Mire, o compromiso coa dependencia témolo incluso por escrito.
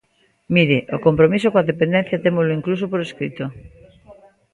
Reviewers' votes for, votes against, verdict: 1, 2, rejected